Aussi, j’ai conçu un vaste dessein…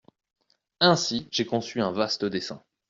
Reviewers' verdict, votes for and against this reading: rejected, 0, 2